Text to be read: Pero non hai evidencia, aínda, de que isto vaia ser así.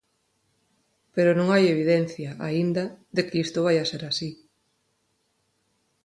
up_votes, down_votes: 4, 0